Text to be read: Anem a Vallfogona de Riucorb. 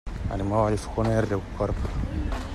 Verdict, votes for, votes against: accepted, 2, 0